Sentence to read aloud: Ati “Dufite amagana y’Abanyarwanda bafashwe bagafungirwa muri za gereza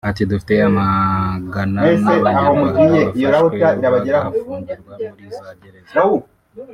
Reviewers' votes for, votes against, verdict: 1, 2, rejected